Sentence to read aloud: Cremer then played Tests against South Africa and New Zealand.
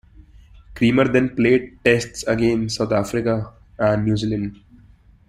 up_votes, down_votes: 2, 0